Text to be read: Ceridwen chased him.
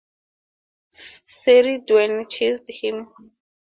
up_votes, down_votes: 2, 0